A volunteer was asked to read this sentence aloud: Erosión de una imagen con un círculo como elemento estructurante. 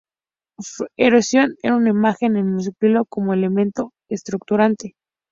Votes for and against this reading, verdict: 2, 2, rejected